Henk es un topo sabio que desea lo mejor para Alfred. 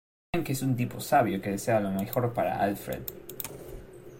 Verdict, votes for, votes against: rejected, 0, 2